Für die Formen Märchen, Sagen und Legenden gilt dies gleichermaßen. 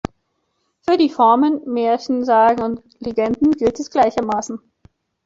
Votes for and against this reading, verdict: 2, 0, accepted